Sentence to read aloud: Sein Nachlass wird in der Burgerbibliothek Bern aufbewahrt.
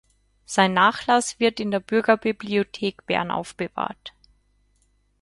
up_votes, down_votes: 0, 6